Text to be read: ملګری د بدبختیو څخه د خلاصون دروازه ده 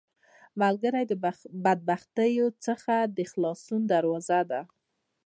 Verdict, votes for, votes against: accepted, 2, 1